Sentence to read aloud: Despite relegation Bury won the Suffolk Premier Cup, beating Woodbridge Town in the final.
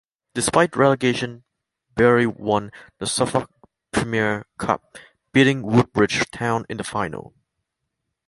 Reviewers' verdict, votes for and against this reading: accepted, 2, 1